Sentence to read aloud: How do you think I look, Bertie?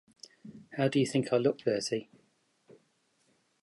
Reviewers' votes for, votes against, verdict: 2, 0, accepted